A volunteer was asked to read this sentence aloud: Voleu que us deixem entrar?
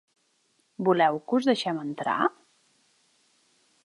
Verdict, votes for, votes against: accepted, 3, 0